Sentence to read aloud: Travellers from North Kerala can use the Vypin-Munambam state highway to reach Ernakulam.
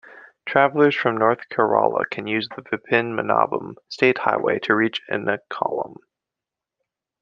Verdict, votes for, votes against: rejected, 0, 2